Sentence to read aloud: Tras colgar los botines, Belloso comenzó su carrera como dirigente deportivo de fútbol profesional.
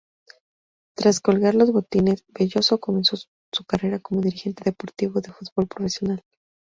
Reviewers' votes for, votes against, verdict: 0, 2, rejected